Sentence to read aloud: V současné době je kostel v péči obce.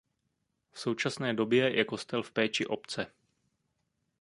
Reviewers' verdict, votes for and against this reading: accepted, 2, 0